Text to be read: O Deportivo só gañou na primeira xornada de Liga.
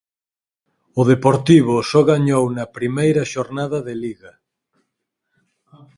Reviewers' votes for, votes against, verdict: 4, 0, accepted